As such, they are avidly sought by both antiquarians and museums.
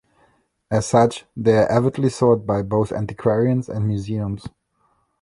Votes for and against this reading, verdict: 1, 2, rejected